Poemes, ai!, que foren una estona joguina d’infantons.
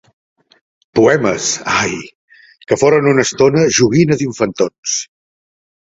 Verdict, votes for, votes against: accepted, 2, 0